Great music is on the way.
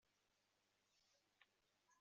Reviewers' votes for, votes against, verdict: 0, 2, rejected